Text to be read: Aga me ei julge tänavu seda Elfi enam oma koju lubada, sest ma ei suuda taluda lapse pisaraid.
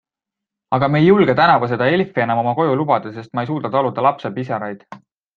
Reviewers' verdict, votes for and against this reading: accepted, 3, 0